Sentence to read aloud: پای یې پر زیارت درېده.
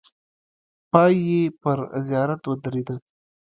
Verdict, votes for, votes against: accepted, 2, 0